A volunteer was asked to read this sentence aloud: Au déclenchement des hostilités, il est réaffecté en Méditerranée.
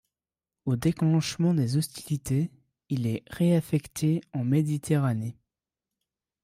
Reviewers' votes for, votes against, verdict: 2, 1, accepted